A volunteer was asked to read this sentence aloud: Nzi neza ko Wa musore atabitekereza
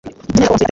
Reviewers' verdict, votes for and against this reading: rejected, 1, 2